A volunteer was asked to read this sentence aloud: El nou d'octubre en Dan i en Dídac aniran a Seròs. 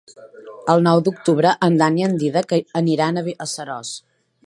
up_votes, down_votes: 0, 2